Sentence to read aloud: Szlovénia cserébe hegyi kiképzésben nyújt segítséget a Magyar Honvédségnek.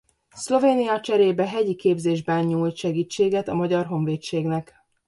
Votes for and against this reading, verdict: 1, 2, rejected